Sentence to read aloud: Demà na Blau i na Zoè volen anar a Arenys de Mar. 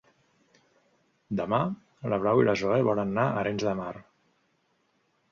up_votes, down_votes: 0, 2